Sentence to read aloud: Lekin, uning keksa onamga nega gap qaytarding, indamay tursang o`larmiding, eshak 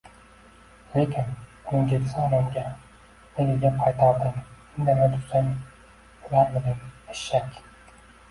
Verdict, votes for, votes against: accepted, 2, 0